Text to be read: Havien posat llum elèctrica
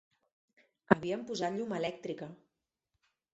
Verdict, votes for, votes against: rejected, 0, 4